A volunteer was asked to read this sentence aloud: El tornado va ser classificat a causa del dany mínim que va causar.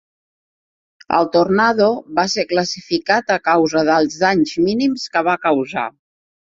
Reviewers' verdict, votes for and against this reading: rejected, 0, 4